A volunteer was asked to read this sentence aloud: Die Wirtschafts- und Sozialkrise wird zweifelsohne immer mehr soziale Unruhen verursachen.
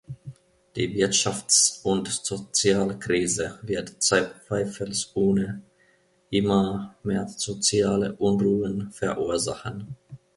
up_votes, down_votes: 1, 2